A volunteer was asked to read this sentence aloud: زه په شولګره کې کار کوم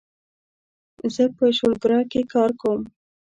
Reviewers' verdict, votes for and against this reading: rejected, 0, 2